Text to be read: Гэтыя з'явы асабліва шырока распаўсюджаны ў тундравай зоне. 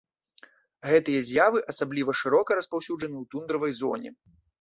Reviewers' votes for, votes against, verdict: 2, 0, accepted